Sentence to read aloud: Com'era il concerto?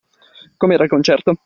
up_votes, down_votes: 2, 0